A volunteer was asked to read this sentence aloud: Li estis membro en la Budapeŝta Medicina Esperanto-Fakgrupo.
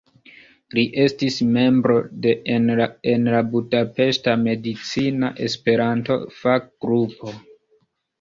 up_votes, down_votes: 1, 2